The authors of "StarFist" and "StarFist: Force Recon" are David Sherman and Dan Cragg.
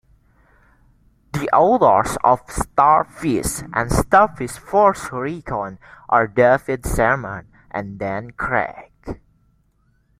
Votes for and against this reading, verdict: 0, 2, rejected